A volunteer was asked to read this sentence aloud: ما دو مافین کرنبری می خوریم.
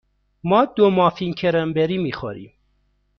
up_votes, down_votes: 1, 2